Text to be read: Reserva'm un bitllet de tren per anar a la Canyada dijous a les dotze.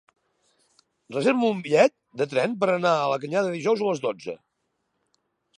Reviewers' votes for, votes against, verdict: 4, 1, accepted